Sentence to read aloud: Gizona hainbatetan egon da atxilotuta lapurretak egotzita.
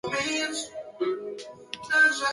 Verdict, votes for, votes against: rejected, 0, 2